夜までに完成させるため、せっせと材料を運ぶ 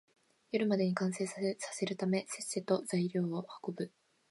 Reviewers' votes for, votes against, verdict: 16, 3, accepted